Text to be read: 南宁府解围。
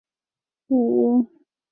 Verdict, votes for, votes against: rejected, 1, 6